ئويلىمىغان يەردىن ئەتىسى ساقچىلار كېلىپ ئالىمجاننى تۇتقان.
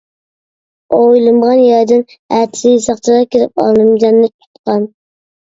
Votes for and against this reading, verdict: 0, 2, rejected